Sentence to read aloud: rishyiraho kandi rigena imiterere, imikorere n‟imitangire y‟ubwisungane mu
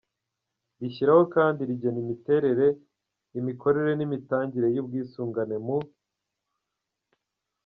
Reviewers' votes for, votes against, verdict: 3, 0, accepted